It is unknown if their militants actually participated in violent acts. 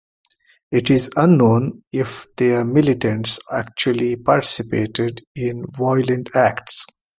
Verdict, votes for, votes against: accepted, 2, 1